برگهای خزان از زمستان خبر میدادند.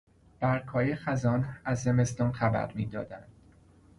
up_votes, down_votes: 2, 0